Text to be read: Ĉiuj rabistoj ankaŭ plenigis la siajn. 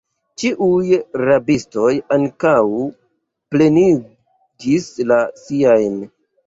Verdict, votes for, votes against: rejected, 0, 2